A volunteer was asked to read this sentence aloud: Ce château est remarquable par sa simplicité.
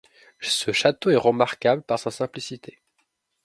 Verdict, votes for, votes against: accepted, 2, 0